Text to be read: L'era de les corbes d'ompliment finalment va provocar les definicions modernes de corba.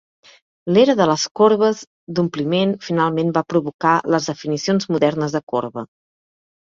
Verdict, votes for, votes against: accepted, 3, 0